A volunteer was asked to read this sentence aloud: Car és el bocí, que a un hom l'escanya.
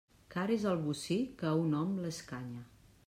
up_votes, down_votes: 2, 0